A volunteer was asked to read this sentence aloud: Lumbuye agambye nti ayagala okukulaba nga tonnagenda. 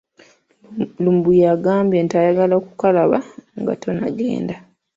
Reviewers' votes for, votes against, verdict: 0, 2, rejected